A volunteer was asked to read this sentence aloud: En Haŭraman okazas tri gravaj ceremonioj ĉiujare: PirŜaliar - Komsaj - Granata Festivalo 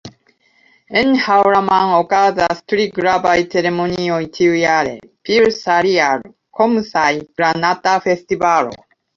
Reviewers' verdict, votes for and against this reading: rejected, 0, 2